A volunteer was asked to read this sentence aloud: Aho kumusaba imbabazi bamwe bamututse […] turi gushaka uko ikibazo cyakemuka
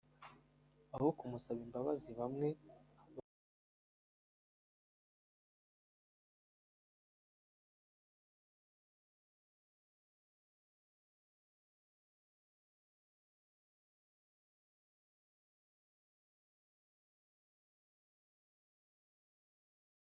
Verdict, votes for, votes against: rejected, 0, 2